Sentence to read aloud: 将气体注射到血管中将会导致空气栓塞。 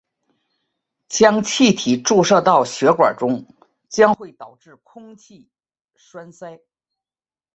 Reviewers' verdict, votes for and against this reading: rejected, 1, 2